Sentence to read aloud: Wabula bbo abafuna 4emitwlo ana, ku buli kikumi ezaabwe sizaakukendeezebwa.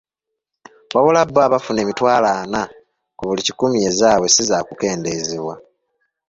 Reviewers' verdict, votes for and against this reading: rejected, 0, 2